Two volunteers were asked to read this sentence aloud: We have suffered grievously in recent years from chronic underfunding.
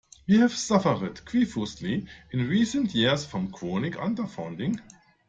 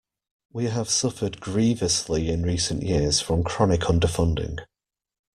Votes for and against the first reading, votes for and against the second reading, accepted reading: 1, 2, 2, 0, second